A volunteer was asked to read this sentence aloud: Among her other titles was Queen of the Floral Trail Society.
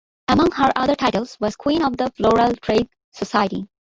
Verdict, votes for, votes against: accepted, 2, 1